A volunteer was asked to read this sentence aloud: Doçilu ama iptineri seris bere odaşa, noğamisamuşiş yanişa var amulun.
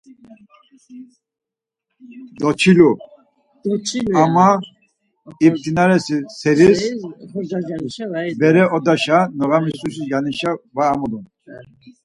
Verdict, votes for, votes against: rejected, 2, 4